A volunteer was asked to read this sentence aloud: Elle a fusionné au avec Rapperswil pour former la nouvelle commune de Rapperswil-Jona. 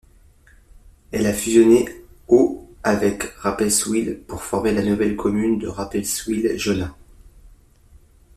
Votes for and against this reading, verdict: 2, 0, accepted